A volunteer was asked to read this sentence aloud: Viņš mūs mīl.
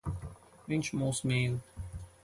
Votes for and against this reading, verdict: 4, 0, accepted